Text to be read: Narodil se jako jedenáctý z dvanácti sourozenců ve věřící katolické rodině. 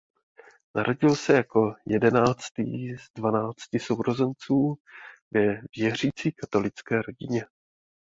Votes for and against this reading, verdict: 2, 0, accepted